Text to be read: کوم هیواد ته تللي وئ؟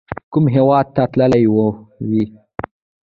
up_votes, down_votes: 1, 2